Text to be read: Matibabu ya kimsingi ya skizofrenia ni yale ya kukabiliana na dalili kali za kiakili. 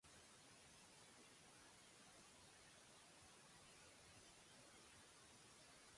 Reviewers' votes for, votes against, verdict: 1, 2, rejected